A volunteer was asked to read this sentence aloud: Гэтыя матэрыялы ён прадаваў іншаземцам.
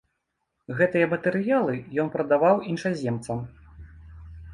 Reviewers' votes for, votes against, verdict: 2, 0, accepted